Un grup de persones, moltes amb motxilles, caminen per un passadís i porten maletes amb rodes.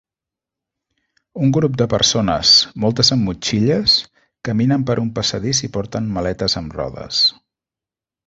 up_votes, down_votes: 2, 0